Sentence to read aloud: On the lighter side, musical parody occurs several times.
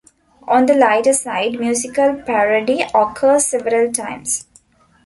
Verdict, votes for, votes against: accepted, 2, 0